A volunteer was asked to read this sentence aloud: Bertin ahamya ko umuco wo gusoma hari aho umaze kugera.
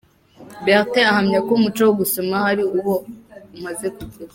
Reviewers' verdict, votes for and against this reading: rejected, 1, 2